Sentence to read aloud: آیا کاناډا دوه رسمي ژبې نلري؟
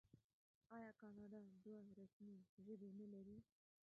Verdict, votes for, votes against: rejected, 0, 2